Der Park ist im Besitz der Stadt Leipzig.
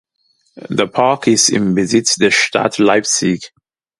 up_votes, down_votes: 2, 0